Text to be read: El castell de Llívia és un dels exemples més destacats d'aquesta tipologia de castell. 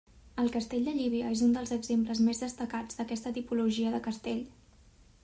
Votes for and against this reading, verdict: 3, 0, accepted